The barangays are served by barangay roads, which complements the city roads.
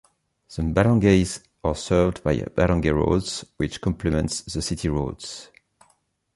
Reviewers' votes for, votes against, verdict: 2, 1, accepted